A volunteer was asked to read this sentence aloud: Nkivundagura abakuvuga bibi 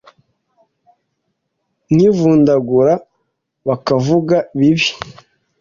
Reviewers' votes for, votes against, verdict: 1, 2, rejected